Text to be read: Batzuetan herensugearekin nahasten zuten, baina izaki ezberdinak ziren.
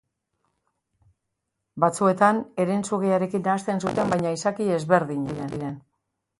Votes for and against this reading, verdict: 0, 2, rejected